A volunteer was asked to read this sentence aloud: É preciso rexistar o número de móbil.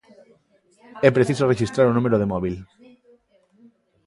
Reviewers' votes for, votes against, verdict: 1, 2, rejected